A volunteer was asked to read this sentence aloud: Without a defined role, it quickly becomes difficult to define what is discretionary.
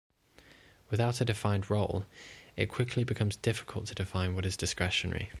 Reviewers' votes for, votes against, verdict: 2, 0, accepted